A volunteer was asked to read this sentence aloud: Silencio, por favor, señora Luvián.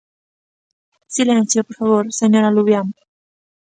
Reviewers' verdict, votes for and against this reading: accepted, 2, 0